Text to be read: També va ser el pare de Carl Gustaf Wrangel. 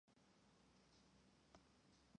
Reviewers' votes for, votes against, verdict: 0, 2, rejected